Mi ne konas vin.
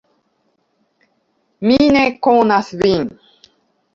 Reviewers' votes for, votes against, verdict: 0, 2, rejected